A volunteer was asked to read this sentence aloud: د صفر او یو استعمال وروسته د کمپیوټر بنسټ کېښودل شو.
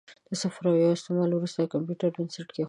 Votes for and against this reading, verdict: 2, 0, accepted